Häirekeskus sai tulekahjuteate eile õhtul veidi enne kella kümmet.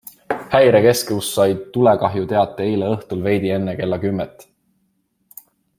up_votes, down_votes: 2, 0